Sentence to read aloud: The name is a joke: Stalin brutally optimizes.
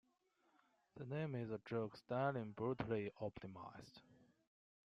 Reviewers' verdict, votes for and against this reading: accepted, 2, 0